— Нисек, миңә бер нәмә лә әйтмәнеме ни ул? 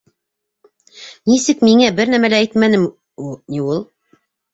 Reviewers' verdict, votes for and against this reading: rejected, 0, 2